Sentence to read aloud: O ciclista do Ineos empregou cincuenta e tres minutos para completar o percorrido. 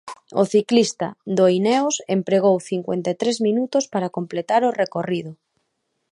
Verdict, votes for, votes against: rejected, 0, 2